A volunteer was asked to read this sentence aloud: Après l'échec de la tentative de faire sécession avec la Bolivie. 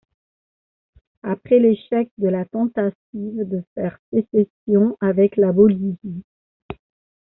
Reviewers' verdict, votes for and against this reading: rejected, 1, 2